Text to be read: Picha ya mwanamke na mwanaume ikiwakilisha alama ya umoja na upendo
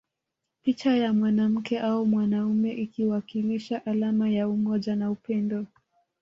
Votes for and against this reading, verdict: 1, 2, rejected